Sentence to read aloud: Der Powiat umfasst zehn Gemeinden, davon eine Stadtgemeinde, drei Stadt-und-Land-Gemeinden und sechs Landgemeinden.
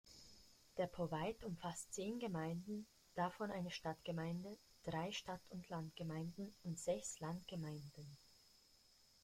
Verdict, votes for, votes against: rejected, 1, 2